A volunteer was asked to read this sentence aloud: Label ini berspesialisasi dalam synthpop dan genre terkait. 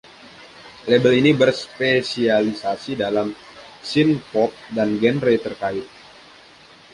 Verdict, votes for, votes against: rejected, 1, 2